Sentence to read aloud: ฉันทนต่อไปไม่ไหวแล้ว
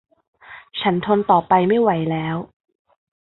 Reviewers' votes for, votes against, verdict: 2, 0, accepted